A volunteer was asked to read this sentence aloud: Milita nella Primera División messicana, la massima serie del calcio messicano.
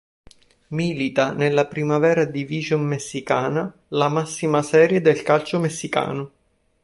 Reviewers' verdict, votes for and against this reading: rejected, 1, 2